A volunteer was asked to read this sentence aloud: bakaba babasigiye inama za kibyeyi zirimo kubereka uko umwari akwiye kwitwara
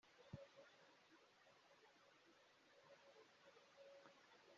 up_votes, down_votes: 1, 3